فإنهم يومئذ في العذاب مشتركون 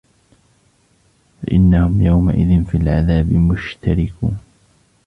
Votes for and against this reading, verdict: 1, 2, rejected